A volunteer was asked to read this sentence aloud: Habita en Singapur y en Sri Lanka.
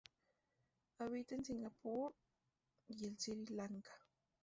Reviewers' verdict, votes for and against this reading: rejected, 0, 2